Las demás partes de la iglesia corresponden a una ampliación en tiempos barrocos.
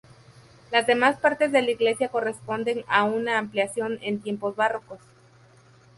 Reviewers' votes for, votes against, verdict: 0, 2, rejected